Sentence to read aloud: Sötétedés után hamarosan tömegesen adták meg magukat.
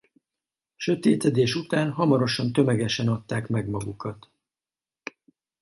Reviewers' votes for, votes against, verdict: 2, 0, accepted